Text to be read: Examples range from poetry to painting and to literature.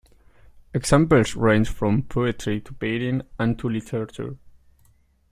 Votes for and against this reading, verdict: 2, 0, accepted